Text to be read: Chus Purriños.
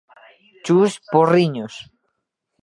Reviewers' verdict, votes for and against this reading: rejected, 1, 2